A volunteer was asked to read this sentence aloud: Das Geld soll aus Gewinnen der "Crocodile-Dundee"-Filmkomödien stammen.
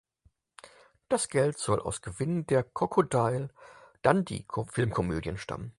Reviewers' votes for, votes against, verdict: 2, 4, rejected